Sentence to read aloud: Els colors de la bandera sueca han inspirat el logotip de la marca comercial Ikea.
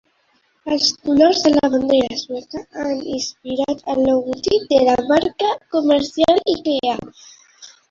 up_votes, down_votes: 0, 2